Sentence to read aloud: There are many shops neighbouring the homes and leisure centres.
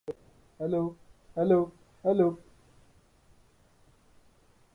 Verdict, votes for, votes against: rejected, 0, 2